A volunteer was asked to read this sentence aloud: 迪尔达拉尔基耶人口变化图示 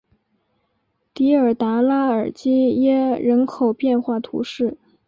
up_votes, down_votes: 3, 0